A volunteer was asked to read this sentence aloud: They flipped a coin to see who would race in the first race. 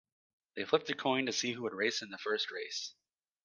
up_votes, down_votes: 2, 0